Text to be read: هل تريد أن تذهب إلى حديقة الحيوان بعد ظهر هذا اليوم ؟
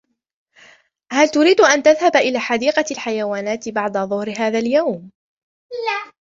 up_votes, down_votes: 1, 2